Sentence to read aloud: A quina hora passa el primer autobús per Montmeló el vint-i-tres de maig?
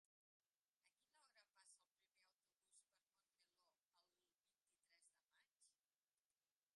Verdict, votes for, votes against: rejected, 1, 2